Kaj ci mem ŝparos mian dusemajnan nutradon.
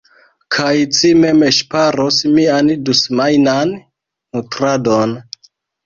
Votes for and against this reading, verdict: 0, 2, rejected